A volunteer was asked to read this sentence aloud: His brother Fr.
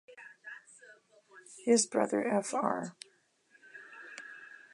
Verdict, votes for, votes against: accepted, 2, 1